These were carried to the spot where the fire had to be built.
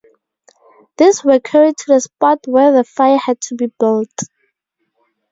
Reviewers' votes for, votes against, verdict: 0, 2, rejected